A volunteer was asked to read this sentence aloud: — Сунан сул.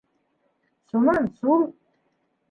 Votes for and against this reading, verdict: 2, 0, accepted